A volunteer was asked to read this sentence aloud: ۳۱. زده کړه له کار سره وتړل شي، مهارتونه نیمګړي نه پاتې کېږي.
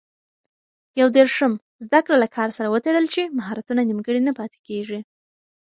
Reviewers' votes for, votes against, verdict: 0, 2, rejected